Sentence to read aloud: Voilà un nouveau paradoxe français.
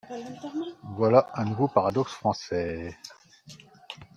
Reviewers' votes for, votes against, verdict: 0, 3, rejected